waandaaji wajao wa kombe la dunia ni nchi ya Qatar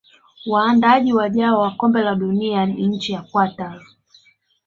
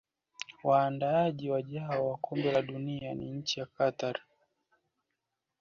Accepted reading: first